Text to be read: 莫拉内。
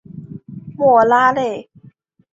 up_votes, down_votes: 2, 1